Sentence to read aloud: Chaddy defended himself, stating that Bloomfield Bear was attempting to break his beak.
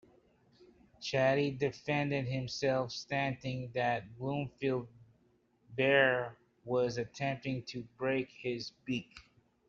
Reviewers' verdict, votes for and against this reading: rejected, 0, 2